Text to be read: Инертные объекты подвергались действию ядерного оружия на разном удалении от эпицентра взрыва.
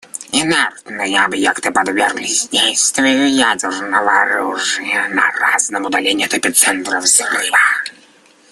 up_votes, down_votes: 0, 2